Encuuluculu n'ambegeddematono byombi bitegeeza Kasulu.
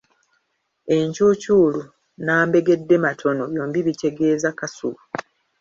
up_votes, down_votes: 1, 2